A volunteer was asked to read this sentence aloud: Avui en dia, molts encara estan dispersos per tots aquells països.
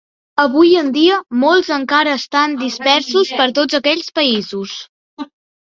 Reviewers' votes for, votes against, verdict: 2, 0, accepted